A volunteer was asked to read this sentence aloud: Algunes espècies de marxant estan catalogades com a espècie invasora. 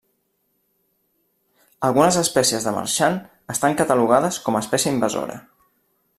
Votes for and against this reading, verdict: 1, 2, rejected